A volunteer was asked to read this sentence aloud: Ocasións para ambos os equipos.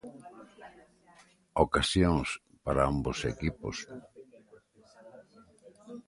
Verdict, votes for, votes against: rejected, 0, 2